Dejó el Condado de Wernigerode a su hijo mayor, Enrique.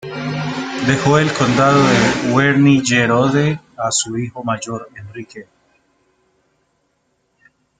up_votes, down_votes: 0, 2